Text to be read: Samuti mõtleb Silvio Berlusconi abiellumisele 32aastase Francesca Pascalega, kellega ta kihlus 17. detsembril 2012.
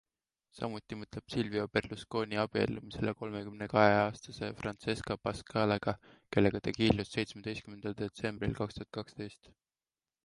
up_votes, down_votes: 0, 2